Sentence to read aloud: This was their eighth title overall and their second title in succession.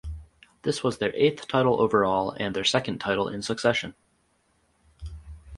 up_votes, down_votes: 4, 0